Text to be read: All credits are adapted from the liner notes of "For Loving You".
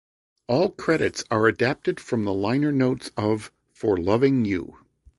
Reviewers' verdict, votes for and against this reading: accepted, 2, 0